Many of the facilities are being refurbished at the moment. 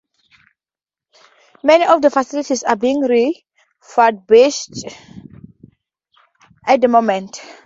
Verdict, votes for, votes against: accepted, 2, 0